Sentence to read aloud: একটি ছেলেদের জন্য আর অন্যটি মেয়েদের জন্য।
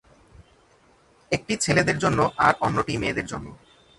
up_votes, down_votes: 2, 0